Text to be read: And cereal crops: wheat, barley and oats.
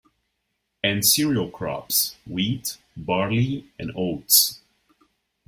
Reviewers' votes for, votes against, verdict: 2, 0, accepted